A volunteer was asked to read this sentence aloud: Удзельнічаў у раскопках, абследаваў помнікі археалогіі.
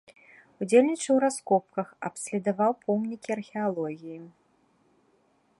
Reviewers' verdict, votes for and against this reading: rejected, 0, 2